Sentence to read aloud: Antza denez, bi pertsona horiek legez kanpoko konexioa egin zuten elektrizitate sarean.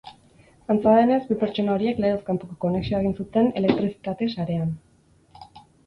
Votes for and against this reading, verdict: 0, 2, rejected